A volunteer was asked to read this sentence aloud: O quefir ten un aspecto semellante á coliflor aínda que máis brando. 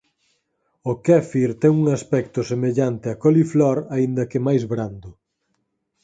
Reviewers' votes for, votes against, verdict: 0, 4, rejected